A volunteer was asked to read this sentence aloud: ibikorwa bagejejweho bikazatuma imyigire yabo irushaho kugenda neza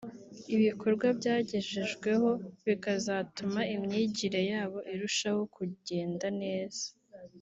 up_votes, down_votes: 2, 0